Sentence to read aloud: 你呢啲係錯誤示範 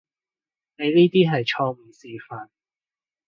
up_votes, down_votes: 2, 0